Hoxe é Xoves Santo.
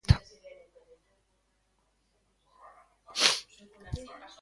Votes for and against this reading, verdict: 0, 2, rejected